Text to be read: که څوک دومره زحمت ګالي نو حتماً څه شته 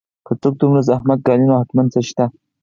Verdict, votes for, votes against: accepted, 4, 0